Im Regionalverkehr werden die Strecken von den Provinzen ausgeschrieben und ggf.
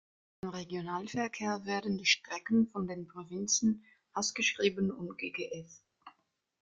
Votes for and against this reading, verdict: 0, 2, rejected